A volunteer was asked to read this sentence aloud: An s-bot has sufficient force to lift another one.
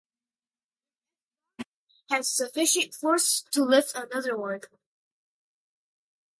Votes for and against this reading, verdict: 0, 2, rejected